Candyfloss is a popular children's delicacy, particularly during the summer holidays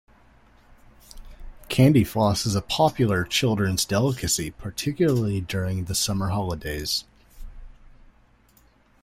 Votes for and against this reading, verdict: 2, 0, accepted